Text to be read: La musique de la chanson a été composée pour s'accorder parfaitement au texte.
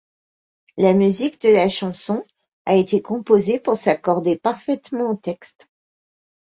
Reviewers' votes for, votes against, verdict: 2, 0, accepted